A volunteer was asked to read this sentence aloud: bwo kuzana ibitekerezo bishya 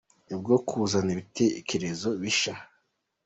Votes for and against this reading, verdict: 1, 2, rejected